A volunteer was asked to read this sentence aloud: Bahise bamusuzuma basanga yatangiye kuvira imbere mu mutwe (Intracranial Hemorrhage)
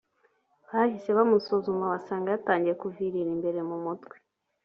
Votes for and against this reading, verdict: 1, 4, rejected